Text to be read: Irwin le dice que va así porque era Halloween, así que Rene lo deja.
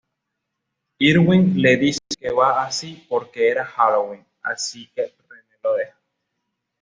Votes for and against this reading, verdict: 2, 1, accepted